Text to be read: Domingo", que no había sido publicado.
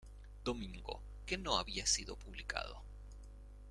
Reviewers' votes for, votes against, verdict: 0, 2, rejected